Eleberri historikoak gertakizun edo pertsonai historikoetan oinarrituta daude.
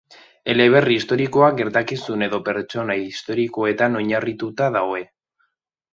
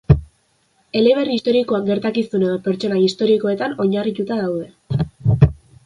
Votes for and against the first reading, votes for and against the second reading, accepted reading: 0, 2, 2, 1, second